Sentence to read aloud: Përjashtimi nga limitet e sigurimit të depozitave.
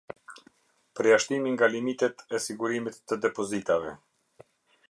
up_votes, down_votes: 2, 0